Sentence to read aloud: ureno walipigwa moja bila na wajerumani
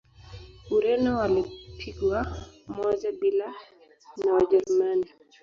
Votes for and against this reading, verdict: 0, 2, rejected